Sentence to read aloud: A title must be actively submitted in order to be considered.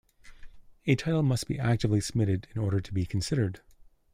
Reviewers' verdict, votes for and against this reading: accepted, 2, 1